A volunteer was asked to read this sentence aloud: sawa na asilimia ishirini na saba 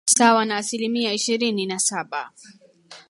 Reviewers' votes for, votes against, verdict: 1, 2, rejected